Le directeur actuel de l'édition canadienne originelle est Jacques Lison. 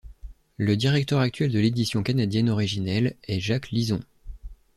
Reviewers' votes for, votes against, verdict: 2, 0, accepted